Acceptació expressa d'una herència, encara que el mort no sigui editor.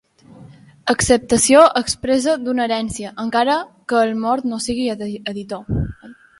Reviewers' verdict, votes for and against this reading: rejected, 0, 2